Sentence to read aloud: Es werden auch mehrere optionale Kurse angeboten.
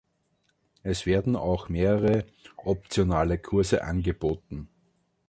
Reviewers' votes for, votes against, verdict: 2, 0, accepted